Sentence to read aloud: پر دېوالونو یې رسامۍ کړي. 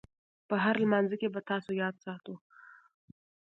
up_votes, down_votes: 0, 2